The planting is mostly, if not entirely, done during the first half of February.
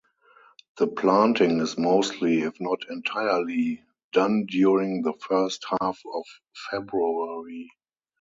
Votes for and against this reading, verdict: 0, 2, rejected